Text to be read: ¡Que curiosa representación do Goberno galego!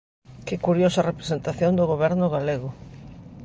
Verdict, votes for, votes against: accepted, 2, 0